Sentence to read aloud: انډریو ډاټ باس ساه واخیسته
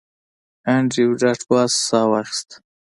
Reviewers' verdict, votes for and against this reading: accepted, 2, 0